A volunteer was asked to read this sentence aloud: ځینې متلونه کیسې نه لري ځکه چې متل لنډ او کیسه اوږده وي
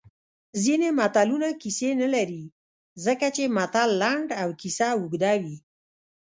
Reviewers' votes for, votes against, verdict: 1, 2, rejected